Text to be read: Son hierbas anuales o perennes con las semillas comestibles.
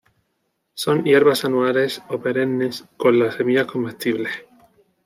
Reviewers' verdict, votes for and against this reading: rejected, 1, 2